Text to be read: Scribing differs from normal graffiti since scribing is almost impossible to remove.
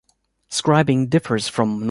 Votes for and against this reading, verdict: 0, 2, rejected